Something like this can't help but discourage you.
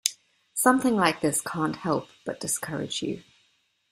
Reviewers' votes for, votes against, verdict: 2, 0, accepted